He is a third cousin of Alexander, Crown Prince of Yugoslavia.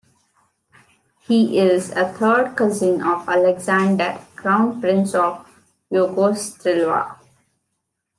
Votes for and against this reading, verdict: 1, 2, rejected